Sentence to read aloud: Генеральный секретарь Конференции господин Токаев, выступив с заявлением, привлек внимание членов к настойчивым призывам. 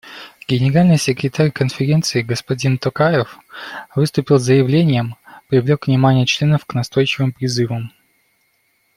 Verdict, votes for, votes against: rejected, 1, 2